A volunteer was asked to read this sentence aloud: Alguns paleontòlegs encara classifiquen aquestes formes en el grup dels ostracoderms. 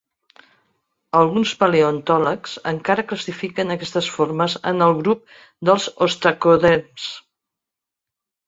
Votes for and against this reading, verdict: 2, 0, accepted